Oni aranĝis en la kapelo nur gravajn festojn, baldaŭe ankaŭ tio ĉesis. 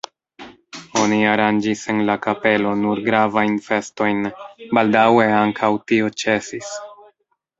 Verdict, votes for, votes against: rejected, 1, 2